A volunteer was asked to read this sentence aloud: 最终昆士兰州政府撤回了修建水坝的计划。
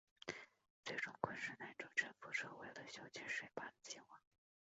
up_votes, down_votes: 0, 3